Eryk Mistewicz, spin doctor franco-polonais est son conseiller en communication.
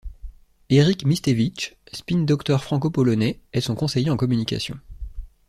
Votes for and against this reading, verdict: 2, 0, accepted